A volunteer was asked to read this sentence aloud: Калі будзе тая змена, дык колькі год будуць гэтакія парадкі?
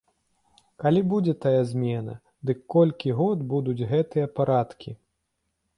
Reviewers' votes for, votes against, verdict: 1, 2, rejected